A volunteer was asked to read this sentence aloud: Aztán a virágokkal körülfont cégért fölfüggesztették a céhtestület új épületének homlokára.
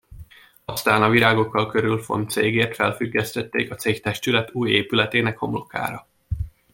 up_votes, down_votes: 0, 2